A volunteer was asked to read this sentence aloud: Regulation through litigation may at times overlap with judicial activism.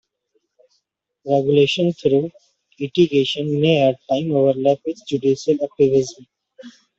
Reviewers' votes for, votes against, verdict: 2, 1, accepted